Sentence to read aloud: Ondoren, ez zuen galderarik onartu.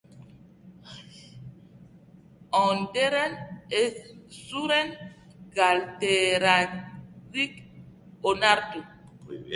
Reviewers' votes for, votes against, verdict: 0, 2, rejected